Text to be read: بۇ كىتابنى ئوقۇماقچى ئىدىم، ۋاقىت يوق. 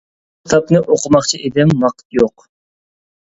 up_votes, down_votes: 0, 2